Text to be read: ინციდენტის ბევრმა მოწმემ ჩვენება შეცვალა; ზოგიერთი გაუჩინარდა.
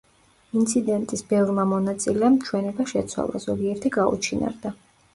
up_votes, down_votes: 0, 2